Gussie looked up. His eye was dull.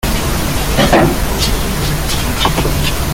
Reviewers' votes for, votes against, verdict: 0, 2, rejected